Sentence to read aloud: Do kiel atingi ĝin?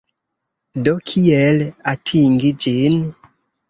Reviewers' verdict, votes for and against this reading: accepted, 2, 1